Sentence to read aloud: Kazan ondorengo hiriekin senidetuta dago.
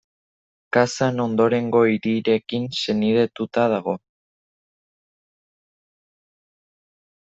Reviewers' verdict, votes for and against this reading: rejected, 1, 2